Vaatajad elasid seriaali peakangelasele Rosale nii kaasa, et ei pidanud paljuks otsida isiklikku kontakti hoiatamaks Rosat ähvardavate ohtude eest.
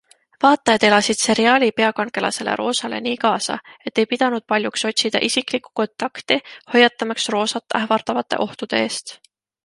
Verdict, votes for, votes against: accepted, 2, 0